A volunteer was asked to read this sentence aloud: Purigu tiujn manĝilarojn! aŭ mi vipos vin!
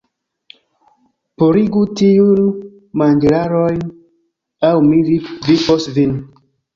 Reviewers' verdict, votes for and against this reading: rejected, 1, 2